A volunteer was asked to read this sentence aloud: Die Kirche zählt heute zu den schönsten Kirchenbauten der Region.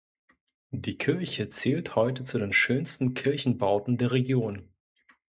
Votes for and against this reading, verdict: 2, 0, accepted